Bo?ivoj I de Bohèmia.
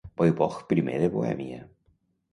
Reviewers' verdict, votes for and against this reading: rejected, 0, 2